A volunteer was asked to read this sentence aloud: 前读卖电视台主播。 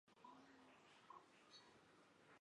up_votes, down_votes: 0, 3